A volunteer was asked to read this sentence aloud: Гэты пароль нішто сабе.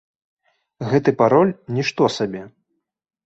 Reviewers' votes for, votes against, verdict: 2, 0, accepted